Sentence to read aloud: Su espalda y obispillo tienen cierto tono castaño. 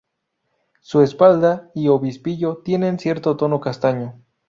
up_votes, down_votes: 2, 0